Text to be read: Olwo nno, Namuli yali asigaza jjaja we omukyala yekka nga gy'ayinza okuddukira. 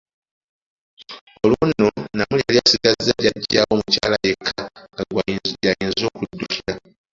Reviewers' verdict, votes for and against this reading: accepted, 2, 1